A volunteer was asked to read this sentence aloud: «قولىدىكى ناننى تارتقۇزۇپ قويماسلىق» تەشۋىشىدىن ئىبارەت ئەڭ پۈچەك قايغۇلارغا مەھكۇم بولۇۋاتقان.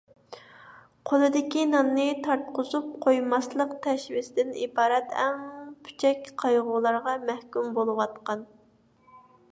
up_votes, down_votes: 2, 0